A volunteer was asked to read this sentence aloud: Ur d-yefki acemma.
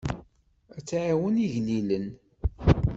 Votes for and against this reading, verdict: 0, 2, rejected